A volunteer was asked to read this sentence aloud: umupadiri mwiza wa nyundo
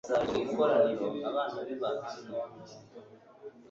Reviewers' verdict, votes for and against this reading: rejected, 0, 2